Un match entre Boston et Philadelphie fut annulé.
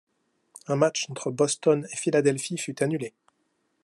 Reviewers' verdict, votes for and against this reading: accepted, 2, 0